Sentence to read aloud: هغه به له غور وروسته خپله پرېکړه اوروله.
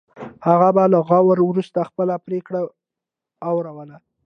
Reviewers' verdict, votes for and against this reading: accepted, 2, 0